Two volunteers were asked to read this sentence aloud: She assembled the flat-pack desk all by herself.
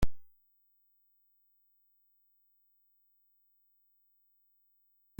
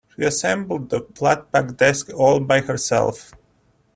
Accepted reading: second